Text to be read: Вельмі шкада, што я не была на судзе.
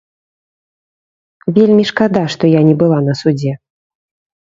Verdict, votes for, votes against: accepted, 2, 0